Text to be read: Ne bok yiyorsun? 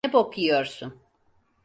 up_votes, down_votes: 0, 4